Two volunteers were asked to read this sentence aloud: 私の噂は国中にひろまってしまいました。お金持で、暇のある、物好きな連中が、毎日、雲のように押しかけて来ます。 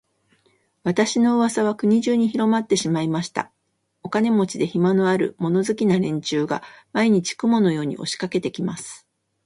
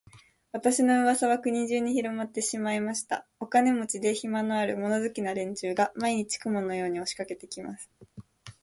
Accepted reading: second